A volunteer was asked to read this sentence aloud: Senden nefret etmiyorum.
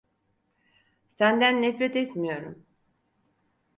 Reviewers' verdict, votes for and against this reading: accepted, 4, 0